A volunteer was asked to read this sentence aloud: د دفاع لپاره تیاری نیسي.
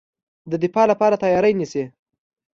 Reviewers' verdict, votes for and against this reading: accepted, 2, 0